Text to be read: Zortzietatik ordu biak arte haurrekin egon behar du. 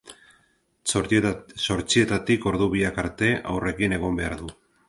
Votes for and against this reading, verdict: 0, 2, rejected